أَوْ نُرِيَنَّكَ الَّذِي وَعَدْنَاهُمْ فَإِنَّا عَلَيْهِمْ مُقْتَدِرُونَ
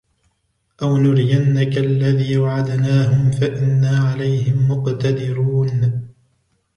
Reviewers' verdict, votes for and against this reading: rejected, 0, 2